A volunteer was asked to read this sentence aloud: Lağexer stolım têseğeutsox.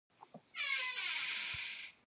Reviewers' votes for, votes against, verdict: 0, 2, rejected